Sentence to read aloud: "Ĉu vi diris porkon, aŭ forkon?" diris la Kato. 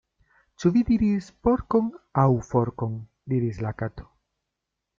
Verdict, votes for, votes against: accepted, 2, 0